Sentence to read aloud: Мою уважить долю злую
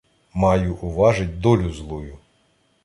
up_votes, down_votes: 0, 2